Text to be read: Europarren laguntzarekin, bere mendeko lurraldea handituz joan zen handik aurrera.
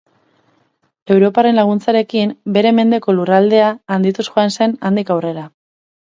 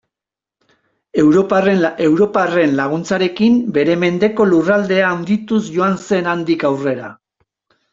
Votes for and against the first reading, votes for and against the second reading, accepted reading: 4, 0, 0, 2, first